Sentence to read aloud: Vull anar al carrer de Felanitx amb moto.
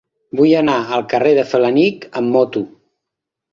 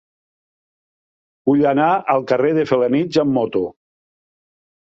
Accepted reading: second